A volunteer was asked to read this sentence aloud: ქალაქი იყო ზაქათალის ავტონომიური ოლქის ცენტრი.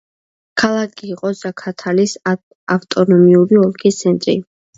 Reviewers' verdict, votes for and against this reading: rejected, 0, 2